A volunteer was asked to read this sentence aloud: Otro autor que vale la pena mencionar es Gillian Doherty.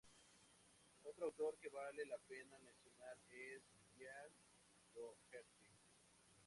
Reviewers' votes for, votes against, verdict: 2, 0, accepted